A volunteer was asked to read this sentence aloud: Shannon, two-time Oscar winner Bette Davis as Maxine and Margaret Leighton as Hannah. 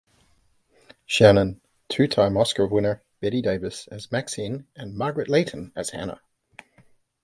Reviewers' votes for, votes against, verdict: 2, 0, accepted